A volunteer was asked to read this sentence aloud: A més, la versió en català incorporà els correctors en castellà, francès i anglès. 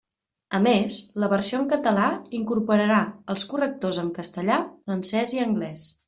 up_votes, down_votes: 1, 2